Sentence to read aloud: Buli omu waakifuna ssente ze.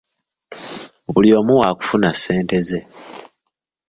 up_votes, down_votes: 1, 2